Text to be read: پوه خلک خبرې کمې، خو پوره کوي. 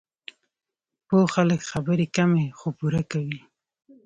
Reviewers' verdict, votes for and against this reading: rejected, 1, 2